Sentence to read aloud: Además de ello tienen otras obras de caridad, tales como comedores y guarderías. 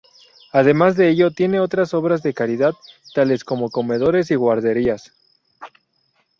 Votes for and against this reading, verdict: 0, 2, rejected